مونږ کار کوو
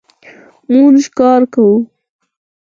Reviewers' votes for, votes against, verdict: 4, 2, accepted